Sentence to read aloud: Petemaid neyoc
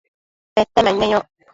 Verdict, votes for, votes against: rejected, 1, 2